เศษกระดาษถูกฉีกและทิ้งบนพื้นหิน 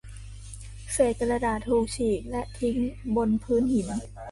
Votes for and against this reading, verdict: 0, 2, rejected